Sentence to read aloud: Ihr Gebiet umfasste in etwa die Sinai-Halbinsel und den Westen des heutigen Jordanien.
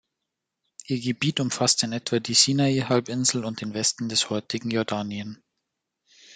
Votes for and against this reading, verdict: 2, 0, accepted